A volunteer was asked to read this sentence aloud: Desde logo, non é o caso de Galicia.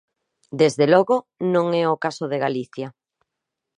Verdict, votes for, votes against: accepted, 2, 0